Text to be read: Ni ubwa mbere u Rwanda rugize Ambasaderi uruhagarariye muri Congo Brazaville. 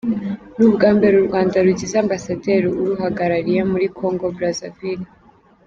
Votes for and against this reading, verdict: 2, 0, accepted